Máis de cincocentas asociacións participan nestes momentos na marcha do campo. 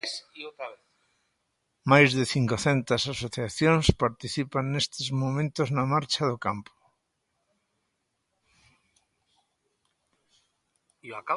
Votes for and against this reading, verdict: 1, 2, rejected